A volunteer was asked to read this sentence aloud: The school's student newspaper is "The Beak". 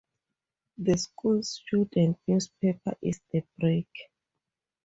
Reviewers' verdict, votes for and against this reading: rejected, 0, 6